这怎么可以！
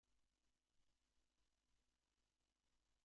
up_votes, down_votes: 0, 2